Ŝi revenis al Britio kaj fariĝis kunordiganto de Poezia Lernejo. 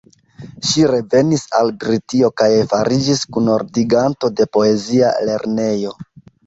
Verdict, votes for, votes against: rejected, 0, 2